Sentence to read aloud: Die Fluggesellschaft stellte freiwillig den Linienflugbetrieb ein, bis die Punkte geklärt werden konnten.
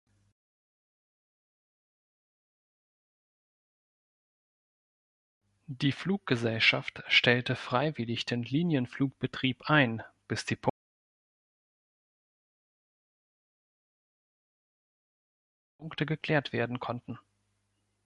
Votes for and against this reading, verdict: 1, 2, rejected